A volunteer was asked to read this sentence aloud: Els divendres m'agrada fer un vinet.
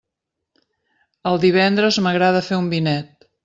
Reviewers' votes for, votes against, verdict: 1, 2, rejected